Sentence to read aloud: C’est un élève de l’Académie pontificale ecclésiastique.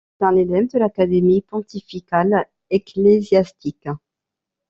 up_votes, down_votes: 0, 2